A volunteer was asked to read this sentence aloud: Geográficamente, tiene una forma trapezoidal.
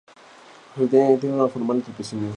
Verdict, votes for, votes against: rejected, 0, 2